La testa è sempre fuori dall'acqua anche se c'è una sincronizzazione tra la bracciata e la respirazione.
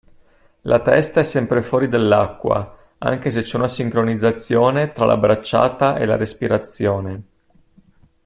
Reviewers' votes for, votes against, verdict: 0, 2, rejected